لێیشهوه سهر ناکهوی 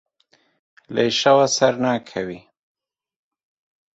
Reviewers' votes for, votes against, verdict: 1, 2, rejected